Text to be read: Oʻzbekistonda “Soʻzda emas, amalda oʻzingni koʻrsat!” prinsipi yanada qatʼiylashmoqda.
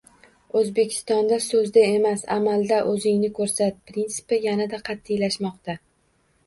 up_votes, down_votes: 1, 2